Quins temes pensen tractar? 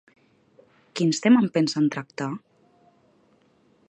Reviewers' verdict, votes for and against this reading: rejected, 1, 2